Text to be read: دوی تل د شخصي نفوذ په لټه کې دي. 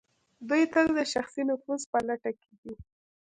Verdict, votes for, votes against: accepted, 2, 0